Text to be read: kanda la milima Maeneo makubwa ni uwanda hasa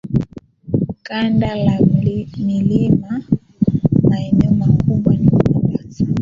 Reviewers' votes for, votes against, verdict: 0, 2, rejected